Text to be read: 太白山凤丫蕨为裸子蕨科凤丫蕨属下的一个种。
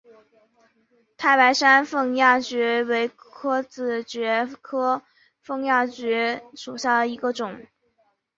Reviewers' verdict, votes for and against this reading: accepted, 2, 0